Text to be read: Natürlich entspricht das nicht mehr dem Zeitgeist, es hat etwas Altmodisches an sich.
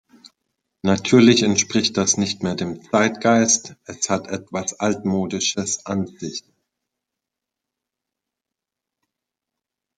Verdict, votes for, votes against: rejected, 1, 2